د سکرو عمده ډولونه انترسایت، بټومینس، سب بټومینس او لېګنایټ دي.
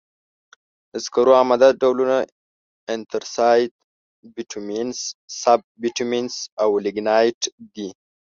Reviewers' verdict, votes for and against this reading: accepted, 2, 0